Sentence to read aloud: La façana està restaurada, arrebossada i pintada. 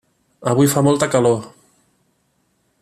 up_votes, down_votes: 1, 2